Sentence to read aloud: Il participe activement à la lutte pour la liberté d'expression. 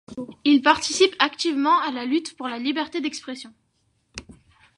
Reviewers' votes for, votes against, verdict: 2, 0, accepted